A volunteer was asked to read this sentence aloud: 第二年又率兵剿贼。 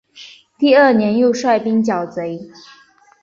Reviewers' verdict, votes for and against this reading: accepted, 3, 0